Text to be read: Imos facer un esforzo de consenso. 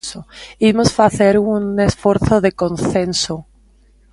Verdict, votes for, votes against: rejected, 0, 2